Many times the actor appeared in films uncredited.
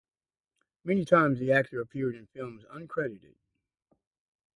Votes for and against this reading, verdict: 2, 2, rejected